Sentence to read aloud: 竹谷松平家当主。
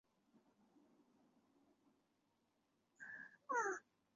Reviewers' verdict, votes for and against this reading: rejected, 0, 2